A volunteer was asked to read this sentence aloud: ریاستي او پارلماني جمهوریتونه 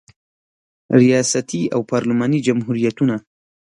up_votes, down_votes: 2, 0